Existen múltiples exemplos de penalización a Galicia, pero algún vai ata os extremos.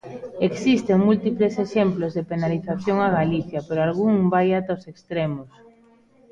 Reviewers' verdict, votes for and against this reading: rejected, 0, 2